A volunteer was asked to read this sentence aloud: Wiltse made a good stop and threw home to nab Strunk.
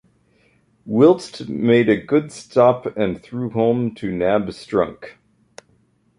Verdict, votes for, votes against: rejected, 0, 2